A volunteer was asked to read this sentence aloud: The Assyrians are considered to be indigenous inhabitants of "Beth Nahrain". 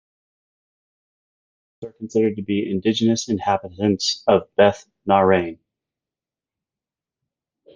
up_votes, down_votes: 0, 2